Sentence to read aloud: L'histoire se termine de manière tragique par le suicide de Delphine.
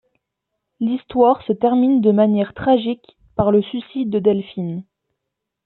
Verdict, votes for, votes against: accepted, 3, 0